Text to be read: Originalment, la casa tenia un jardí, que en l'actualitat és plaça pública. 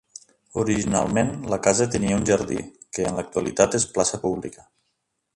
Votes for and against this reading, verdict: 2, 1, accepted